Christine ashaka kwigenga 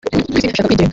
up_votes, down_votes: 2, 4